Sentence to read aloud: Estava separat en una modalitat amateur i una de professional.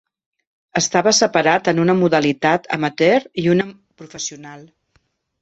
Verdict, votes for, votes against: rejected, 2, 3